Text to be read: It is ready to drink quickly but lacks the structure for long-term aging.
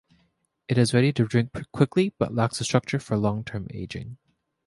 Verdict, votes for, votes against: accepted, 2, 0